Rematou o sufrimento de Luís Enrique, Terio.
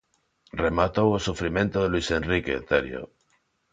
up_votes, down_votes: 2, 0